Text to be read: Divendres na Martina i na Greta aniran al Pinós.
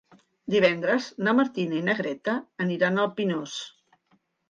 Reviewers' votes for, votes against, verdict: 3, 0, accepted